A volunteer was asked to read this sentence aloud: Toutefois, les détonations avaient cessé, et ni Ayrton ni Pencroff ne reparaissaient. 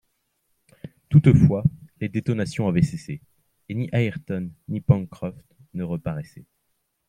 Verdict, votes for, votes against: accepted, 2, 0